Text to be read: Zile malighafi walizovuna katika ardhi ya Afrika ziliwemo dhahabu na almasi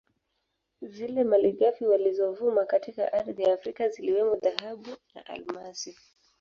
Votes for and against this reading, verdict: 2, 1, accepted